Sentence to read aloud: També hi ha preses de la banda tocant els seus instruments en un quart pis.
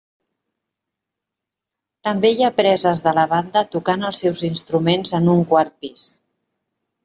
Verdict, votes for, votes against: accepted, 3, 0